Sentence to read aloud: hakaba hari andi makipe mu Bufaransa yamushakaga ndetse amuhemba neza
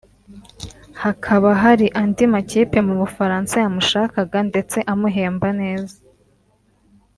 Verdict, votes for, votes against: accepted, 3, 0